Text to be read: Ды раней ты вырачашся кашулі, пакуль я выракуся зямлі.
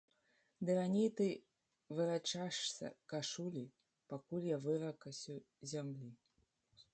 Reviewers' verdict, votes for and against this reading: rejected, 0, 2